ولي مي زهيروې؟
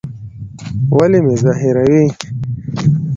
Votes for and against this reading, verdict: 2, 0, accepted